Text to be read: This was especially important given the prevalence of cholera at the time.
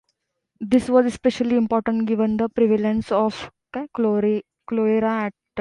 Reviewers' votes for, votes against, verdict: 0, 2, rejected